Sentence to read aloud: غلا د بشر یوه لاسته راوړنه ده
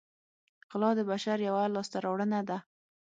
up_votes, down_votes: 6, 3